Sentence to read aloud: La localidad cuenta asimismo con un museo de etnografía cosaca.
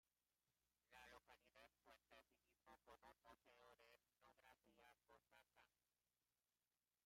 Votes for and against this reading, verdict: 0, 2, rejected